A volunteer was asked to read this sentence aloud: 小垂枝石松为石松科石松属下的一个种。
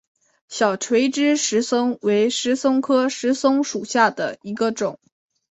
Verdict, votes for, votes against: accepted, 3, 0